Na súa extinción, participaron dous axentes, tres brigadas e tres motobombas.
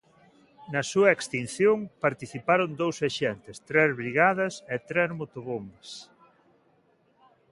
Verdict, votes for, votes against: accepted, 2, 0